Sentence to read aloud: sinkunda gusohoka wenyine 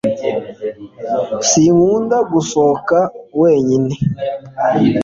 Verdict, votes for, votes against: accepted, 2, 0